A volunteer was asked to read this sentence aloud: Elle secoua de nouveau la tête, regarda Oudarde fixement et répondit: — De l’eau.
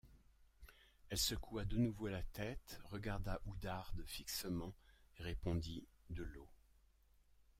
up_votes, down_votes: 1, 2